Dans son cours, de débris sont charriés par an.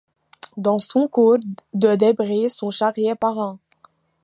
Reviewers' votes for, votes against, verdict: 2, 0, accepted